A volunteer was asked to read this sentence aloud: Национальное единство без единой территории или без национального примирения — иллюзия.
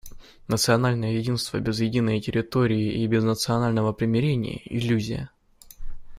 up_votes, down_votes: 0, 2